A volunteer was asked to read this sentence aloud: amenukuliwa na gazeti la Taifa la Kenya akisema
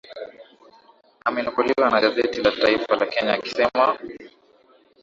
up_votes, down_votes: 2, 0